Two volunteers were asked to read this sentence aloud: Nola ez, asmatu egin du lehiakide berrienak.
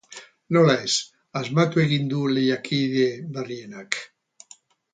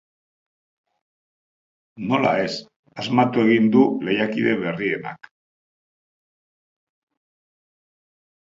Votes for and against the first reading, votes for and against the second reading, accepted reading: 0, 4, 2, 0, second